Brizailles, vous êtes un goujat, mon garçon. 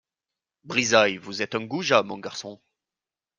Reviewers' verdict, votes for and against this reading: accepted, 2, 0